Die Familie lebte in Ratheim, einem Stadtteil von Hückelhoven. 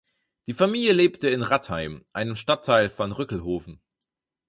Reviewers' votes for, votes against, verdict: 2, 4, rejected